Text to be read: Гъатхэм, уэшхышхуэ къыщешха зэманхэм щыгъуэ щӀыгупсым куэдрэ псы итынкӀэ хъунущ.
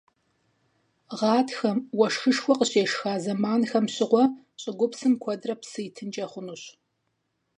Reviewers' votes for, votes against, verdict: 4, 0, accepted